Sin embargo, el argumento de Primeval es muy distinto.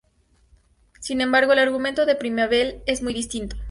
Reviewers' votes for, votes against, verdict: 0, 2, rejected